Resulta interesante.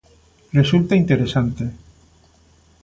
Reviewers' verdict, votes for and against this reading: accepted, 2, 0